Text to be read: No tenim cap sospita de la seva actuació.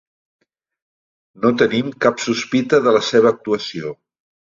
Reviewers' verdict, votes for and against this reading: accepted, 3, 0